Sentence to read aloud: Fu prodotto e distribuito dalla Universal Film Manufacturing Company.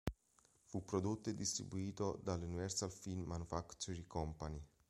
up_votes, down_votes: 2, 1